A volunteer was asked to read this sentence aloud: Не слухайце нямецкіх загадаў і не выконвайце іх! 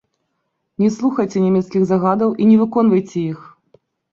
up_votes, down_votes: 2, 0